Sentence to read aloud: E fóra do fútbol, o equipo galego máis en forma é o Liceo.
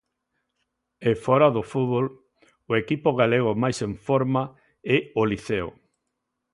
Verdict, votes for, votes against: accepted, 2, 0